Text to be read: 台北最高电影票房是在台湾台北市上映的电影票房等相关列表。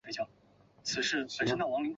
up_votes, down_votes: 0, 3